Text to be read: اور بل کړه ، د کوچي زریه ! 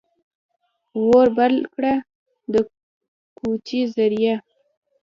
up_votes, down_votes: 1, 2